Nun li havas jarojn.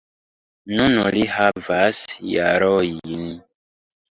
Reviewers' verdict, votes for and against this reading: rejected, 1, 2